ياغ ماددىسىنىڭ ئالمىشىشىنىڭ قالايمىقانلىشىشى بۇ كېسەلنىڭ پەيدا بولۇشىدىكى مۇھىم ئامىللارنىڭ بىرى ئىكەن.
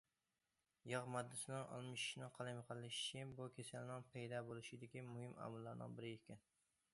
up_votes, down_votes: 2, 0